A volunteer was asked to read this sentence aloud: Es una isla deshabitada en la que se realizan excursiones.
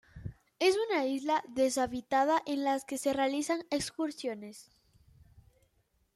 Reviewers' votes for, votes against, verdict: 1, 2, rejected